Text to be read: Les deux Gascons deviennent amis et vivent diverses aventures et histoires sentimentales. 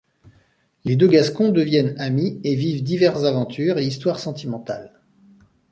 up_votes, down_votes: 0, 2